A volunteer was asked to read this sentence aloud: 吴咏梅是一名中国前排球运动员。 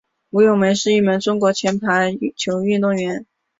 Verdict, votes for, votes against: accepted, 2, 0